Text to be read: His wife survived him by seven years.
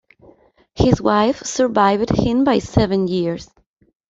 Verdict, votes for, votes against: accepted, 2, 0